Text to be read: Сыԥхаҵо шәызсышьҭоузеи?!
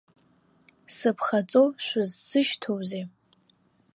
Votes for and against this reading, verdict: 2, 0, accepted